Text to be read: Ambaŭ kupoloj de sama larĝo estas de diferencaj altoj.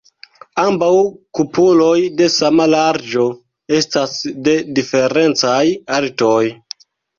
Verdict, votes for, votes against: accepted, 2, 0